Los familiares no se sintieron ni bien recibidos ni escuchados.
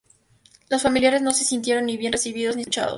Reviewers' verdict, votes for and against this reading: rejected, 0, 2